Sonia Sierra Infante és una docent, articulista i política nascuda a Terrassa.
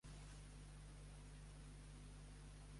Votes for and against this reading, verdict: 2, 1, accepted